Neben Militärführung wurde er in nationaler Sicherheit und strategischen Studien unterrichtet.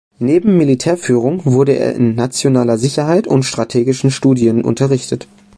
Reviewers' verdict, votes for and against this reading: accepted, 2, 0